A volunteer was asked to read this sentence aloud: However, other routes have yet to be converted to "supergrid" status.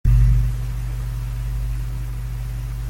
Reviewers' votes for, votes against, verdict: 0, 2, rejected